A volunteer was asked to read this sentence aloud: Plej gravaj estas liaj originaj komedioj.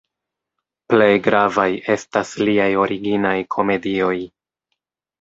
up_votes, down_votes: 2, 0